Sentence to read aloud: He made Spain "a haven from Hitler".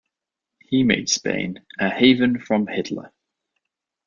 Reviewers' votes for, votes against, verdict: 2, 0, accepted